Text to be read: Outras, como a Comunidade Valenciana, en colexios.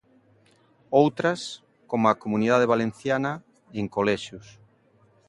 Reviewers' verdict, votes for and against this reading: accepted, 2, 0